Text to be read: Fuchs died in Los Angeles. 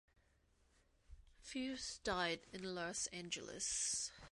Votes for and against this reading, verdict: 1, 2, rejected